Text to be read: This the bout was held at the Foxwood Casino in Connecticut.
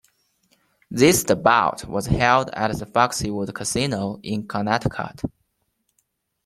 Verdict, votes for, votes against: rejected, 0, 2